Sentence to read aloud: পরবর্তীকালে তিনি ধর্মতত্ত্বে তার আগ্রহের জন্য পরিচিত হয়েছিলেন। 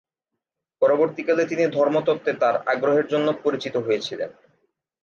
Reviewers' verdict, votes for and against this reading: accepted, 2, 0